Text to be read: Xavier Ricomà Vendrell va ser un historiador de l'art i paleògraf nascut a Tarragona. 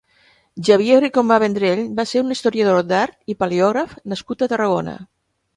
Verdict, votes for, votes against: accepted, 2, 0